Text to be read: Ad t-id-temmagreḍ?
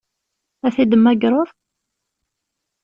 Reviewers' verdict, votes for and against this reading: accepted, 2, 0